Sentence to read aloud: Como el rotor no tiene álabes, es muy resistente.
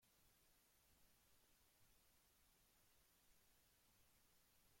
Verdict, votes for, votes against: rejected, 0, 2